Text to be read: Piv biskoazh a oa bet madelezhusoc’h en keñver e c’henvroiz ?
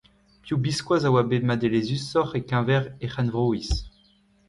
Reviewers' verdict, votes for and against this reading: accepted, 2, 1